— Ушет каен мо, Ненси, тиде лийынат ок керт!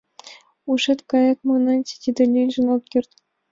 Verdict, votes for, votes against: accepted, 2, 1